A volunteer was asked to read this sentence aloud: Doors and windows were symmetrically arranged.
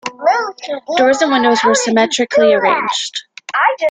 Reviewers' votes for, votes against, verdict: 0, 2, rejected